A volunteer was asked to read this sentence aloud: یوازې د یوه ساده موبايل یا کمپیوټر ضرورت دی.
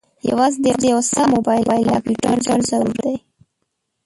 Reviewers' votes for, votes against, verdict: 1, 2, rejected